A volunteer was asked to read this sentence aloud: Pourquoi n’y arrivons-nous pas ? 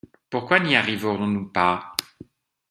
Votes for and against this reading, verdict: 0, 2, rejected